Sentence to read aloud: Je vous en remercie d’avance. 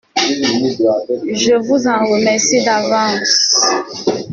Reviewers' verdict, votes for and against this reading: accepted, 2, 0